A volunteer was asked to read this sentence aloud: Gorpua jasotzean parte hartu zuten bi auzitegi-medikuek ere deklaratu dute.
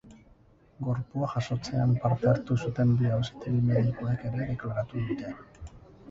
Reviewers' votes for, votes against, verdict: 2, 4, rejected